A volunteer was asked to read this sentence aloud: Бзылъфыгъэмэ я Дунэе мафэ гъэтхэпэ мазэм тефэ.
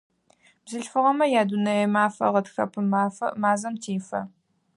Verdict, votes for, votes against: rejected, 0, 4